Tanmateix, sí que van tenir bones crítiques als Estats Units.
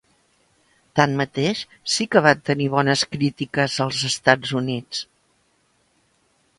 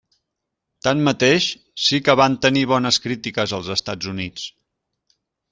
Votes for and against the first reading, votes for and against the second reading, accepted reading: 0, 2, 3, 0, second